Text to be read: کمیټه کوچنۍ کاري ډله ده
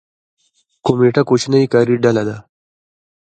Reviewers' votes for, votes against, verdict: 1, 2, rejected